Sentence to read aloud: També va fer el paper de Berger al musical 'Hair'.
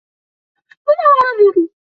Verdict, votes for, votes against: rejected, 0, 2